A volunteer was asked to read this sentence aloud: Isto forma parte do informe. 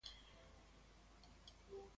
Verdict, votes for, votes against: rejected, 0, 2